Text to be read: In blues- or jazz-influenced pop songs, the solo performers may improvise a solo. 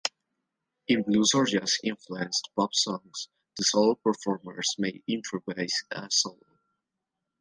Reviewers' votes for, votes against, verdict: 2, 0, accepted